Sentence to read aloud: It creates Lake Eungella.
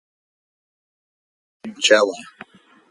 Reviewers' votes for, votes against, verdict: 0, 4, rejected